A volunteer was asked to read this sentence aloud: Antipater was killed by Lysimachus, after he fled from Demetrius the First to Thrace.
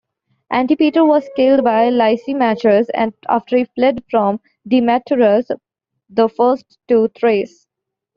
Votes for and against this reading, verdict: 2, 1, accepted